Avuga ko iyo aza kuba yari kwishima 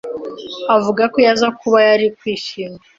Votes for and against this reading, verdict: 2, 0, accepted